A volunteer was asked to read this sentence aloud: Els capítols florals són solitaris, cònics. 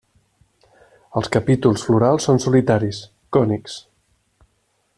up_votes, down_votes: 3, 0